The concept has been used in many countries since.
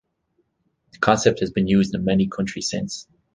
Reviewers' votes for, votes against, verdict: 2, 0, accepted